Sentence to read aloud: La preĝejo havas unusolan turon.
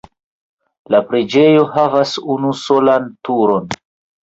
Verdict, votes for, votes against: accepted, 2, 1